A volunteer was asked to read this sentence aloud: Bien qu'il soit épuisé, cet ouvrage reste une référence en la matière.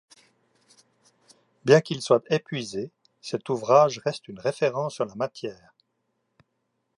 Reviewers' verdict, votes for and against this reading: rejected, 1, 2